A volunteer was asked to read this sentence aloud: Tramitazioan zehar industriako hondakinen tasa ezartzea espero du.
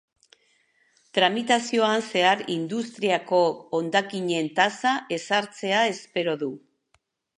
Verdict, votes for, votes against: rejected, 0, 2